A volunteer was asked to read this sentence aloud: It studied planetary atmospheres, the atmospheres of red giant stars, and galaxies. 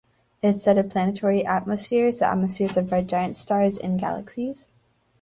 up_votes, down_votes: 0, 2